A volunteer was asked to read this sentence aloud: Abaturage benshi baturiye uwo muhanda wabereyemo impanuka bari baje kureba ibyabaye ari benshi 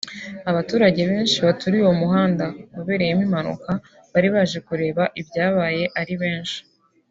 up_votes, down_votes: 2, 1